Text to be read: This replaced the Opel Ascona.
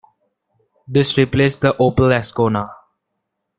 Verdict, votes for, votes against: accepted, 2, 1